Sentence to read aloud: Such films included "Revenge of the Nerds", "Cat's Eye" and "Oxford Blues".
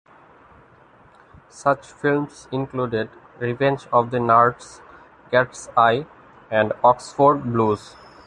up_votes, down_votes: 1, 2